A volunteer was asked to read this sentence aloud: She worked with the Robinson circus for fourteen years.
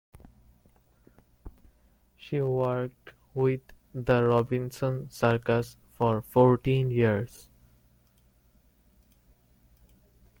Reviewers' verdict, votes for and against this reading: accepted, 2, 0